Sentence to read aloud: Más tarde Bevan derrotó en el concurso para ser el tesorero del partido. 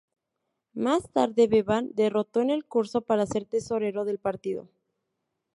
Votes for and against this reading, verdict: 0, 2, rejected